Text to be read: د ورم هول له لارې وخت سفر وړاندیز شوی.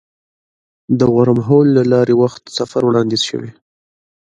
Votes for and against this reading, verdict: 2, 0, accepted